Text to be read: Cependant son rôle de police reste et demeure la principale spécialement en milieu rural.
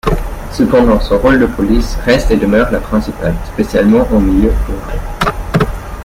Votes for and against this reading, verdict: 2, 0, accepted